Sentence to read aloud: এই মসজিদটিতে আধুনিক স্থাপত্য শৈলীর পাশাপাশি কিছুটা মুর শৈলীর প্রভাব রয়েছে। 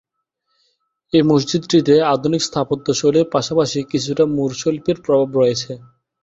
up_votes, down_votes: 3, 6